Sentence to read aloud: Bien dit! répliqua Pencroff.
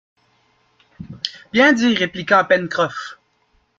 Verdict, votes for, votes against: accepted, 2, 0